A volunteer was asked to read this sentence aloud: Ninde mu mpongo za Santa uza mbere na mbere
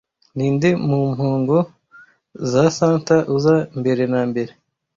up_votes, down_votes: 2, 1